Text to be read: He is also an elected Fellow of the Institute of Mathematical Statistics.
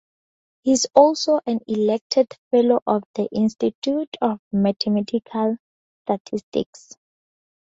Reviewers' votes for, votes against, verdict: 2, 0, accepted